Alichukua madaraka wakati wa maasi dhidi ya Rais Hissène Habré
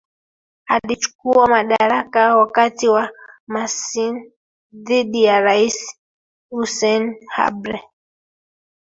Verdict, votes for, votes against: rejected, 1, 2